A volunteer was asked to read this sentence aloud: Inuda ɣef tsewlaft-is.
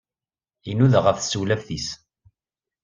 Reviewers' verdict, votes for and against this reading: accepted, 2, 0